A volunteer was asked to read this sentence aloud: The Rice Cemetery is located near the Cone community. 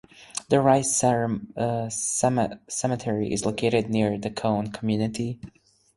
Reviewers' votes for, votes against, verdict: 0, 4, rejected